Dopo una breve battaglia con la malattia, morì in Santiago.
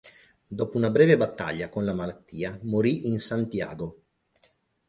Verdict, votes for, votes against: accepted, 12, 0